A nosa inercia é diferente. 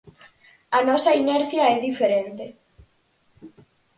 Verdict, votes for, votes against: accepted, 4, 0